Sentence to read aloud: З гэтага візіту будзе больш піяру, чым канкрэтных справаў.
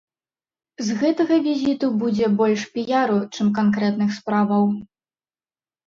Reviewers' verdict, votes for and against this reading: accepted, 2, 0